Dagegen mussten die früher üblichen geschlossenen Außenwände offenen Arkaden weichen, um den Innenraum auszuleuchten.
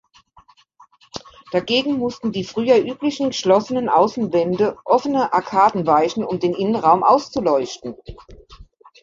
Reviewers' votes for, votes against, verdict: 1, 2, rejected